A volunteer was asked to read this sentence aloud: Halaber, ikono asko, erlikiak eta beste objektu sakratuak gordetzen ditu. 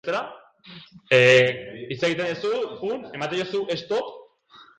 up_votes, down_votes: 0, 2